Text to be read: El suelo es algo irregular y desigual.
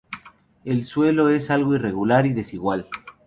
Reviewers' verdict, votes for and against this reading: accepted, 2, 0